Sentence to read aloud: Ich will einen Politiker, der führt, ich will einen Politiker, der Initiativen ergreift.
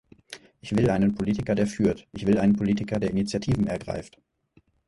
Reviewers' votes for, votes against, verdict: 4, 0, accepted